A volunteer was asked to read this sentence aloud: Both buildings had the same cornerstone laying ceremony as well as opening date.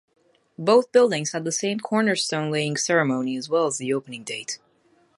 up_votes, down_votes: 2, 2